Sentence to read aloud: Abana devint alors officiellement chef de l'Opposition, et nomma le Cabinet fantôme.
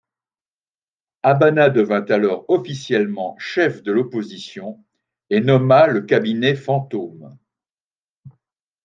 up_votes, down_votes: 0, 2